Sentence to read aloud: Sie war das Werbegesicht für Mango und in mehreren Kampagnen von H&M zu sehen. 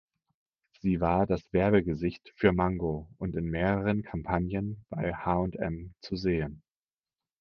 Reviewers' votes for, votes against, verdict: 2, 4, rejected